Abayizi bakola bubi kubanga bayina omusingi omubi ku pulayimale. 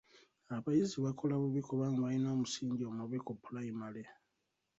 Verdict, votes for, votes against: accepted, 2, 0